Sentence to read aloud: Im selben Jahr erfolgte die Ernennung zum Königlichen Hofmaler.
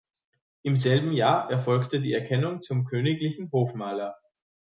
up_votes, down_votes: 0, 2